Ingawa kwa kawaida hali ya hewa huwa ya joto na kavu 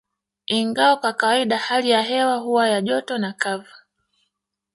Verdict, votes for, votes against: rejected, 1, 2